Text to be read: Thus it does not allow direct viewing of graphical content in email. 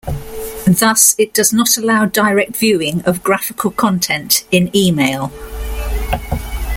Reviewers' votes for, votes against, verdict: 2, 0, accepted